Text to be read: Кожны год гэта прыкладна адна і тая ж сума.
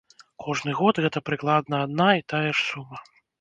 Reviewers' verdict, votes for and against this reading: rejected, 0, 2